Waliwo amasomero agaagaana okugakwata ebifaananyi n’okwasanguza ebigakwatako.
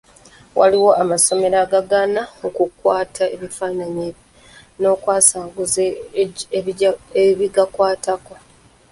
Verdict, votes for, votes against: rejected, 0, 2